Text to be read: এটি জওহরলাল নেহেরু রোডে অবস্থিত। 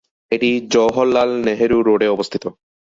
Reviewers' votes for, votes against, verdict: 2, 0, accepted